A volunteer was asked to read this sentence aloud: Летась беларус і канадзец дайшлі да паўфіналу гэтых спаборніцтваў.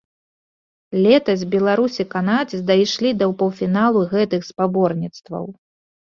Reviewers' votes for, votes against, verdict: 2, 0, accepted